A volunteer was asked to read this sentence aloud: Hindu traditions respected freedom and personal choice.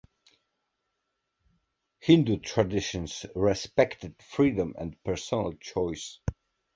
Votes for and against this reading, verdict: 2, 0, accepted